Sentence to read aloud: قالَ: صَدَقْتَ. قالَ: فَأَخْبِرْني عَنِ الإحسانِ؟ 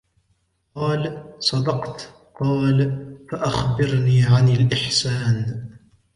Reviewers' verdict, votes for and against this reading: accepted, 2, 0